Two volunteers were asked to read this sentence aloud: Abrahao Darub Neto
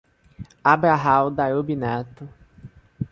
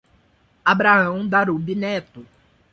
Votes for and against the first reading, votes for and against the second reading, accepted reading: 0, 2, 2, 0, second